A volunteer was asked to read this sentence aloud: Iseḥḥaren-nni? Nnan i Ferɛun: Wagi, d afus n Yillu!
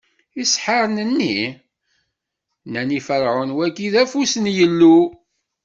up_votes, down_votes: 2, 0